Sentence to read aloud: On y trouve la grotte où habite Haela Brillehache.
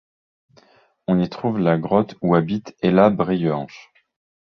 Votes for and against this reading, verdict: 0, 2, rejected